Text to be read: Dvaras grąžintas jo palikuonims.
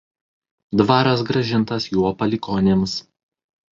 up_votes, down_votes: 1, 2